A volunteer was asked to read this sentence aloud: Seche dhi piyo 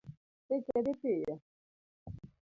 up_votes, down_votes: 0, 2